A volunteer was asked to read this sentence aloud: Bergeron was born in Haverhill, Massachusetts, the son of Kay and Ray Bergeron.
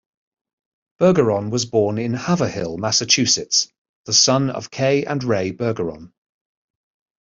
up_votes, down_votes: 2, 0